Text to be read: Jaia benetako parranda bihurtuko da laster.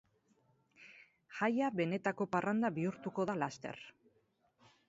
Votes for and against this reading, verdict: 4, 0, accepted